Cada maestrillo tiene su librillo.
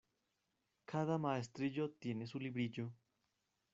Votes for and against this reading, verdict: 0, 2, rejected